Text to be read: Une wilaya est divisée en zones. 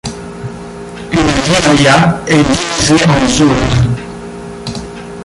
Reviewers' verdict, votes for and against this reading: rejected, 0, 2